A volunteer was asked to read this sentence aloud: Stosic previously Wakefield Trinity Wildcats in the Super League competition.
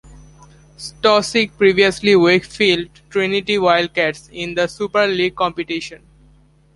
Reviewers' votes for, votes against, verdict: 2, 0, accepted